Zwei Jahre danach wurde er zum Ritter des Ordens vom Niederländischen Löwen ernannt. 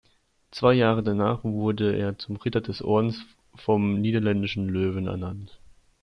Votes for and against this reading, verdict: 2, 0, accepted